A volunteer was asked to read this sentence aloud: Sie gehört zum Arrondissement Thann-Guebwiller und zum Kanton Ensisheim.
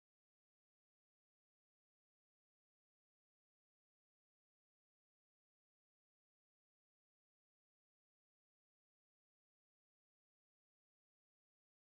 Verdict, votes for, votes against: rejected, 0, 2